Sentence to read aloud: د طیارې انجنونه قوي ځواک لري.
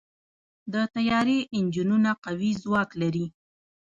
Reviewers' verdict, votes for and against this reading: rejected, 1, 2